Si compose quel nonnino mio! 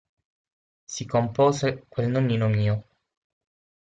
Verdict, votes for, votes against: accepted, 6, 0